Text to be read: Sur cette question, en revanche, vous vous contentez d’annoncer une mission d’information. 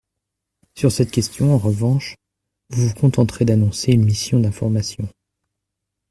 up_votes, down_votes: 0, 2